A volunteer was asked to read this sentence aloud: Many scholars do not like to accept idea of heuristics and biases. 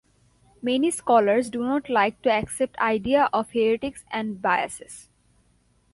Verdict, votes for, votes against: accepted, 2, 0